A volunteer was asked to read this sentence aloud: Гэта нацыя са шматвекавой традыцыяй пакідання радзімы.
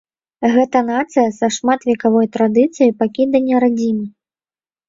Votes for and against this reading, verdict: 1, 2, rejected